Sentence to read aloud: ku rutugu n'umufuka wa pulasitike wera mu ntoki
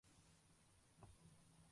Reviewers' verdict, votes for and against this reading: rejected, 0, 2